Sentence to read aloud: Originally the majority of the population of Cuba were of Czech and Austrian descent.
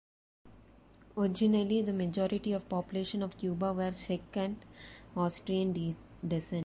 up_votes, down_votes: 0, 2